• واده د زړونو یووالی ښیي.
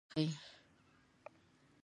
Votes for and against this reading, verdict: 0, 2, rejected